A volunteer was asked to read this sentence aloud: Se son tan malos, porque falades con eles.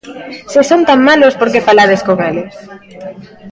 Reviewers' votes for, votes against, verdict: 2, 0, accepted